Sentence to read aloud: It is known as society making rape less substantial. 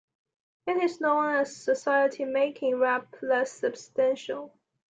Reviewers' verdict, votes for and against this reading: rejected, 0, 2